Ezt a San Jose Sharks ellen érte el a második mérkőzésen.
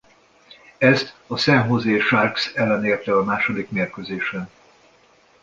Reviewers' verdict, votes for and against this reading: accepted, 2, 0